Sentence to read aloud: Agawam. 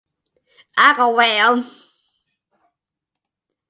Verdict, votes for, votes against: accepted, 2, 0